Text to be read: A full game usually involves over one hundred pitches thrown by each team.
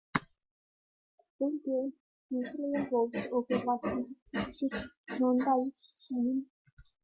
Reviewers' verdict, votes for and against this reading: rejected, 0, 2